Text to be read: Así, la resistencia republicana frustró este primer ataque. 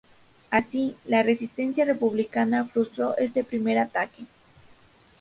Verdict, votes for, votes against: accepted, 2, 0